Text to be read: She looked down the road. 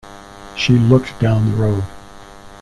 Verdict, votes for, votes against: accepted, 2, 0